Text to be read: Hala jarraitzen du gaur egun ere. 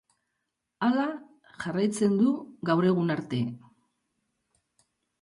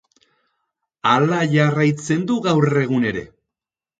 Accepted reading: second